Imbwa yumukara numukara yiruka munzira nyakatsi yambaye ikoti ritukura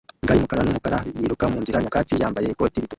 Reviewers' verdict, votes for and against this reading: rejected, 1, 2